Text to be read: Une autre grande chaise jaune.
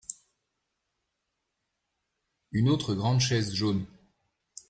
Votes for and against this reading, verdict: 2, 0, accepted